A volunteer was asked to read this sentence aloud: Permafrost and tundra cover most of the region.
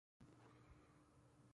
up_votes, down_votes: 0, 2